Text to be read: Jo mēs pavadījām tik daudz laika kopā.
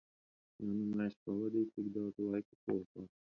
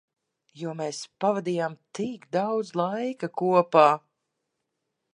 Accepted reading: second